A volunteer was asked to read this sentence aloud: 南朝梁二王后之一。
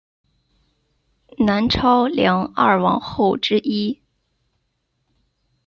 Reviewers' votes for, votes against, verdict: 1, 2, rejected